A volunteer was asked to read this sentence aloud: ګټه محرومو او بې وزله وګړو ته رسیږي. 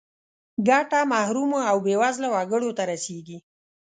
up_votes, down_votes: 2, 0